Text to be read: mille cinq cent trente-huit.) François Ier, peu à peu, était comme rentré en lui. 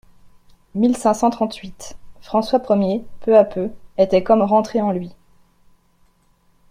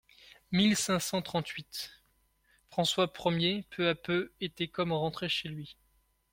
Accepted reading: first